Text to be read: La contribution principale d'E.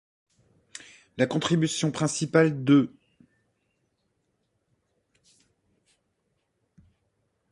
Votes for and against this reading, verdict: 2, 0, accepted